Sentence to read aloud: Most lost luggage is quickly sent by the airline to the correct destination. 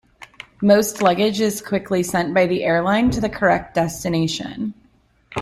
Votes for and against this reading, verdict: 2, 0, accepted